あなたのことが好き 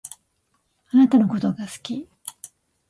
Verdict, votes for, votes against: accepted, 3, 0